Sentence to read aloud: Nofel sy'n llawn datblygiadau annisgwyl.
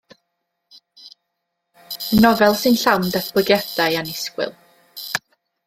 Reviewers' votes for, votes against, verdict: 2, 0, accepted